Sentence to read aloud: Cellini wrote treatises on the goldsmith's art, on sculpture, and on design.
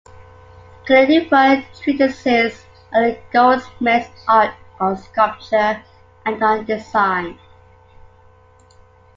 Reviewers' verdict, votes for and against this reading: rejected, 1, 2